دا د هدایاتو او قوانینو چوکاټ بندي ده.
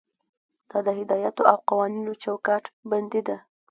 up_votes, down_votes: 2, 0